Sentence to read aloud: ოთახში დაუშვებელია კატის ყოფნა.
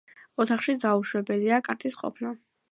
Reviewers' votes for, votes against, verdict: 2, 0, accepted